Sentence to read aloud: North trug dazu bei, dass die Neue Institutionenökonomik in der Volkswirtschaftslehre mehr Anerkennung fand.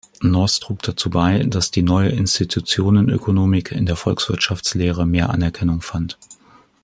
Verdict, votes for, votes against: accepted, 2, 0